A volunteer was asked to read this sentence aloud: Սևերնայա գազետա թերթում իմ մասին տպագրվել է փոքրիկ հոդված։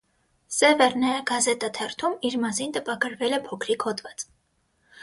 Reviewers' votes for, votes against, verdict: 0, 3, rejected